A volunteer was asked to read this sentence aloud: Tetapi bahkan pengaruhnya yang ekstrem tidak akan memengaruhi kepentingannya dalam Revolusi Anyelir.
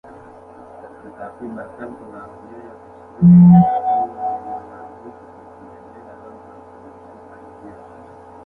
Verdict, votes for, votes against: rejected, 0, 2